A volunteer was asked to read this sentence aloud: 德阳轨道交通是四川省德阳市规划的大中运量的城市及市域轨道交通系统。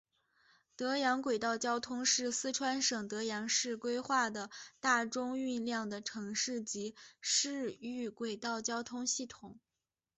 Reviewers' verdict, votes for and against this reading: accepted, 3, 0